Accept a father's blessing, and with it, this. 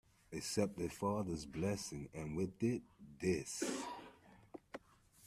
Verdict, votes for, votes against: accepted, 2, 0